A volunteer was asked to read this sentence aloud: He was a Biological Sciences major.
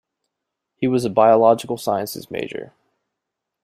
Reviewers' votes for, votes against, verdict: 2, 0, accepted